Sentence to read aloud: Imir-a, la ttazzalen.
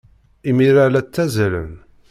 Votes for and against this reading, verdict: 2, 0, accepted